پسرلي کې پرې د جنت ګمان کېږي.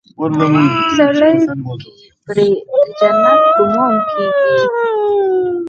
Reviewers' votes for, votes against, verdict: 2, 4, rejected